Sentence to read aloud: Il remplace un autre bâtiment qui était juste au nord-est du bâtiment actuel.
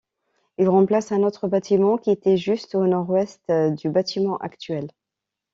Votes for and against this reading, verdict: 0, 2, rejected